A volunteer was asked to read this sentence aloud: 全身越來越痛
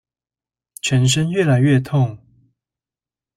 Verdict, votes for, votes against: accepted, 2, 0